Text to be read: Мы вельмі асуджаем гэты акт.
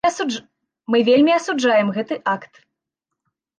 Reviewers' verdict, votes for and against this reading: rejected, 0, 2